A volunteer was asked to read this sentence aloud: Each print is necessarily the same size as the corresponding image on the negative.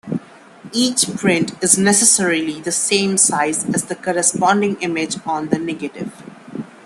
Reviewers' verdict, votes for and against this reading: accepted, 2, 0